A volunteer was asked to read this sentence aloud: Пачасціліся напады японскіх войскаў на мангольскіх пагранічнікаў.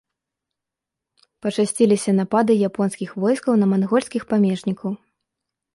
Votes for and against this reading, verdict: 1, 2, rejected